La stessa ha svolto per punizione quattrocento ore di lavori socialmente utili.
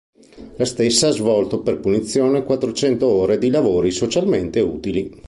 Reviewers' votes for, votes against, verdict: 2, 0, accepted